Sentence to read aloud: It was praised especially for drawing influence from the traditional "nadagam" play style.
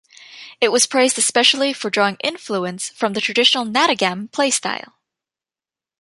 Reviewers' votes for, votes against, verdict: 2, 0, accepted